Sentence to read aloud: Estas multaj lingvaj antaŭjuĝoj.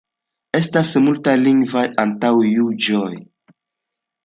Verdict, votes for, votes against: accepted, 2, 0